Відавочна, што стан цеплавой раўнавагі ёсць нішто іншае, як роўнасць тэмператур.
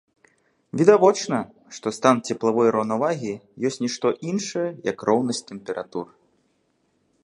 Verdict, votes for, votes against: accepted, 4, 0